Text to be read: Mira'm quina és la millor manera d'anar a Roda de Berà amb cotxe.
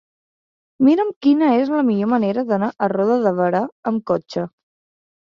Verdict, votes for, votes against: accepted, 3, 0